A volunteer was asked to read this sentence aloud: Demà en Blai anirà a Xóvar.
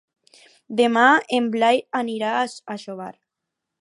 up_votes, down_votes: 2, 4